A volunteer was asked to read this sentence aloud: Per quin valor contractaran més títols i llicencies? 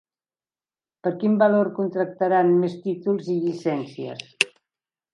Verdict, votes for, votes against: accepted, 5, 0